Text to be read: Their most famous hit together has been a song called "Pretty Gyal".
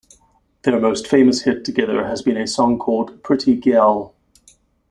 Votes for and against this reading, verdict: 2, 0, accepted